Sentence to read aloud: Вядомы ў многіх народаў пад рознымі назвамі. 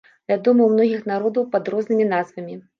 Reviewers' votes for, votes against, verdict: 2, 0, accepted